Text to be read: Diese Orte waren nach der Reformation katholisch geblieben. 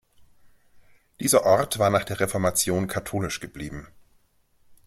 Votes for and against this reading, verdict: 1, 2, rejected